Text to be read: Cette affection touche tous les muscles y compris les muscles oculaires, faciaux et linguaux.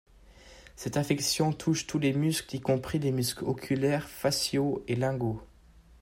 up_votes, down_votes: 2, 0